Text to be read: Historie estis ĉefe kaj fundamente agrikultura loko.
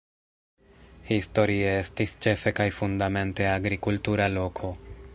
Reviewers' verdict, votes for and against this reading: accepted, 2, 1